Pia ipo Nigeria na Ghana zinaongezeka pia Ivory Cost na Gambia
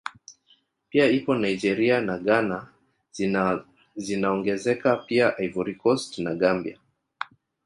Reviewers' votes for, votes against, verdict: 3, 1, accepted